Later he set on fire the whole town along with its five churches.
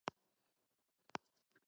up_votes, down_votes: 0, 2